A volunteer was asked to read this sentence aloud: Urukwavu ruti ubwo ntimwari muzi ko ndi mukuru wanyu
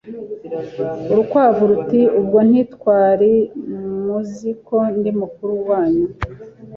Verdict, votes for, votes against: rejected, 1, 2